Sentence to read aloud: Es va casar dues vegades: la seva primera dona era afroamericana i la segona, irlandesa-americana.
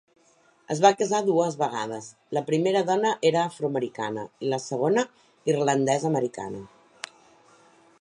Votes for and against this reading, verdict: 0, 3, rejected